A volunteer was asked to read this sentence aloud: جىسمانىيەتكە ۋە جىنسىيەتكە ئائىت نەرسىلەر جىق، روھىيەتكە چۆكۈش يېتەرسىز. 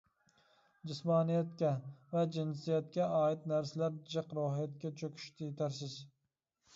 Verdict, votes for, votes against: accepted, 2, 0